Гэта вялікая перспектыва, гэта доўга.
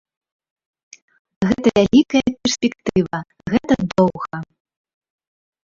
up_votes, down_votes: 1, 2